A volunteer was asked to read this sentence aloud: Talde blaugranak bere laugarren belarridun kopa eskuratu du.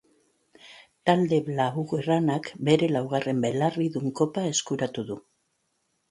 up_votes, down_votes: 3, 0